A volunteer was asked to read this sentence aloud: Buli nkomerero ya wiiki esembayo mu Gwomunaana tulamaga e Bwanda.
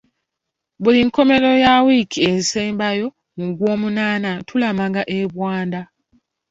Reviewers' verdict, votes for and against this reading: accepted, 2, 0